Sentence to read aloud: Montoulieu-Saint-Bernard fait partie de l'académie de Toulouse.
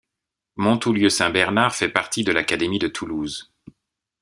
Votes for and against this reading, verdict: 2, 0, accepted